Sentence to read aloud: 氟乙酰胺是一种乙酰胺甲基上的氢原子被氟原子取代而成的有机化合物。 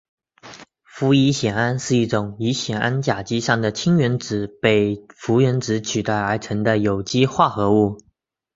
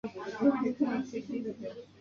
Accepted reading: first